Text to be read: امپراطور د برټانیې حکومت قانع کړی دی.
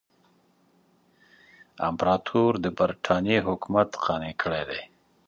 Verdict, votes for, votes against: accepted, 2, 0